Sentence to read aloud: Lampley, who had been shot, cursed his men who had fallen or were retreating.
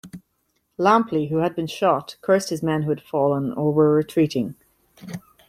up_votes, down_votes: 2, 0